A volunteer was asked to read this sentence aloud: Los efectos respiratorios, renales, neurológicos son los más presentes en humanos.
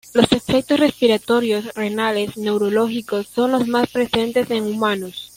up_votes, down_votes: 2, 1